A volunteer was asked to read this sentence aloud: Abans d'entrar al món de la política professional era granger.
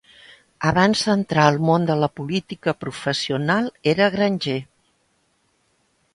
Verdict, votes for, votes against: accepted, 2, 0